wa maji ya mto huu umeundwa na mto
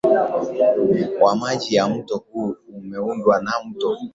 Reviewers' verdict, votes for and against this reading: accepted, 3, 0